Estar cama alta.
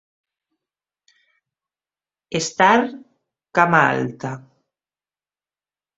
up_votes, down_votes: 2, 1